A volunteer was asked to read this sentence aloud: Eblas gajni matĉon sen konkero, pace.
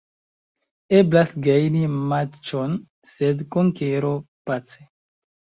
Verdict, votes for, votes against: accepted, 2, 1